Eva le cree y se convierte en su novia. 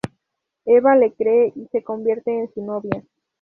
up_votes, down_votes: 0, 2